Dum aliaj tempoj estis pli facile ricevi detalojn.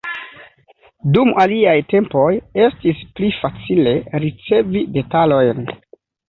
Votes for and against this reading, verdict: 2, 0, accepted